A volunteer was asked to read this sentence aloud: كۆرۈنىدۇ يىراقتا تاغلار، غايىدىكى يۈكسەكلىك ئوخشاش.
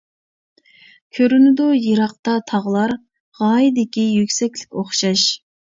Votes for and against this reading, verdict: 2, 0, accepted